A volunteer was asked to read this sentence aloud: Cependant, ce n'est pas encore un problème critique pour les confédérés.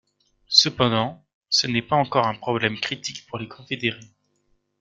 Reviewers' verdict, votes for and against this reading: rejected, 1, 2